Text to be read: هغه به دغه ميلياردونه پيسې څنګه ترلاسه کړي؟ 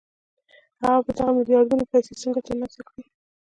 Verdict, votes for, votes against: rejected, 0, 2